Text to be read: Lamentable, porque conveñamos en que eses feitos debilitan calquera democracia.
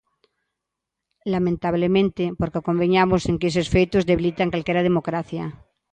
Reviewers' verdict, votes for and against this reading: rejected, 0, 2